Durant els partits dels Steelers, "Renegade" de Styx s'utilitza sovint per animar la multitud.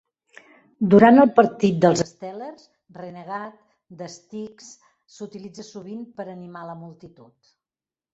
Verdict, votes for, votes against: rejected, 1, 2